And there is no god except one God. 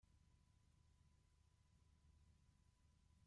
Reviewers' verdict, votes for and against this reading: rejected, 0, 2